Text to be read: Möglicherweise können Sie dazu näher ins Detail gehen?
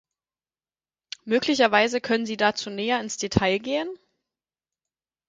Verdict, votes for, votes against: accepted, 4, 0